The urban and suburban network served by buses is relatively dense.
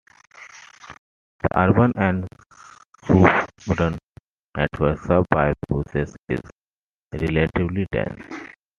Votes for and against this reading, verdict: 0, 2, rejected